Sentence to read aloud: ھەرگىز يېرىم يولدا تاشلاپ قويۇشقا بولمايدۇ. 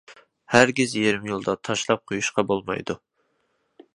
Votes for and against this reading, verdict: 2, 0, accepted